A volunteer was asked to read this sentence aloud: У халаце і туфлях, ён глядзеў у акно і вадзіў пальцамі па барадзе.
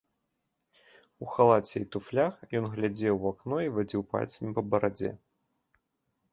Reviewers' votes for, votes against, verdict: 2, 0, accepted